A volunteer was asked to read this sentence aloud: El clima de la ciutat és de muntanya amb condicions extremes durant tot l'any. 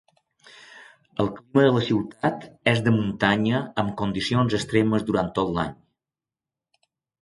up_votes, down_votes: 2, 0